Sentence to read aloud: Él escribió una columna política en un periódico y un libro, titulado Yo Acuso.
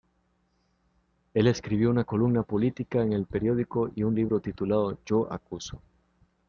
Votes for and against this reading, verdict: 0, 2, rejected